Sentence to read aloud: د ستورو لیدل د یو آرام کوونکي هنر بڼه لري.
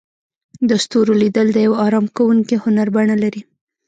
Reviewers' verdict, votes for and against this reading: rejected, 0, 2